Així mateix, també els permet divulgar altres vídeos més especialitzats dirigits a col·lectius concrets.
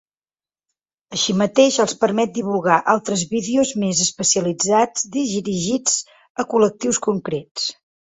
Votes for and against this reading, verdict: 3, 6, rejected